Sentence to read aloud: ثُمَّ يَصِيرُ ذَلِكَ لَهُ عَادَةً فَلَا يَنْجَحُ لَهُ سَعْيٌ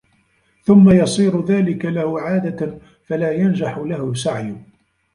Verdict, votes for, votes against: rejected, 0, 2